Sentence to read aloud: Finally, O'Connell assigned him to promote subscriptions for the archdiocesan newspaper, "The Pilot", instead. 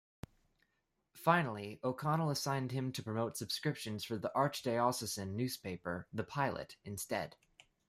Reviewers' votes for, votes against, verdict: 1, 2, rejected